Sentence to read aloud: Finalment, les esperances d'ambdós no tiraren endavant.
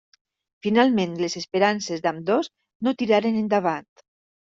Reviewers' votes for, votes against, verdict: 2, 0, accepted